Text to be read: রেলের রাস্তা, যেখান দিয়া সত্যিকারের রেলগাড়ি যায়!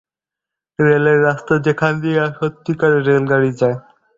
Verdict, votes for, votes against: rejected, 0, 2